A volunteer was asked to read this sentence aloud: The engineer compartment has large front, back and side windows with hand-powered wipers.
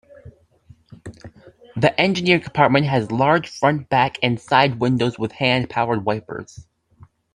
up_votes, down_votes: 2, 0